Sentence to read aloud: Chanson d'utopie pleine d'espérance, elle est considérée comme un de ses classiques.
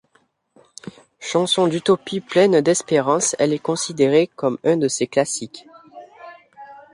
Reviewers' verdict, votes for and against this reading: accepted, 2, 1